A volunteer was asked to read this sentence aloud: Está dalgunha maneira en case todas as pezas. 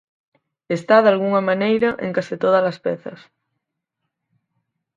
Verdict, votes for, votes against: accepted, 4, 0